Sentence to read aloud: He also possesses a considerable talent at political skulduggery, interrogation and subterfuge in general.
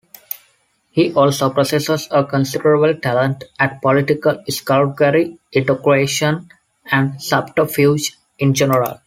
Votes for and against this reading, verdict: 1, 2, rejected